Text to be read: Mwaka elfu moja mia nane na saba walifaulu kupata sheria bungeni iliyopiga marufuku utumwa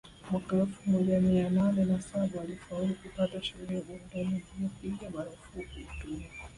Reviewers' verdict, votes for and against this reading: rejected, 1, 2